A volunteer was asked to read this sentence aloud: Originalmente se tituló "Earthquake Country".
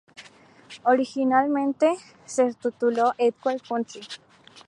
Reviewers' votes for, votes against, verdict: 0, 2, rejected